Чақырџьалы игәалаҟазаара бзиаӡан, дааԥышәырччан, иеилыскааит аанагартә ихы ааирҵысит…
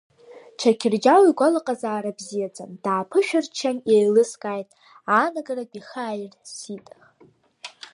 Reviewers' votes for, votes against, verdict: 0, 2, rejected